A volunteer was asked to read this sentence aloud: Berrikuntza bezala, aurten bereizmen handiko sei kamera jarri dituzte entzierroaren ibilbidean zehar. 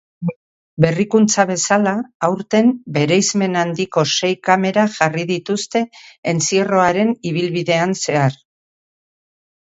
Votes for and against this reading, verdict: 2, 0, accepted